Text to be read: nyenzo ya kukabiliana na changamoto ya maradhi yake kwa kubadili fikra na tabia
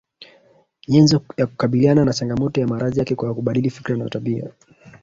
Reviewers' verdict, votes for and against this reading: rejected, 0, 2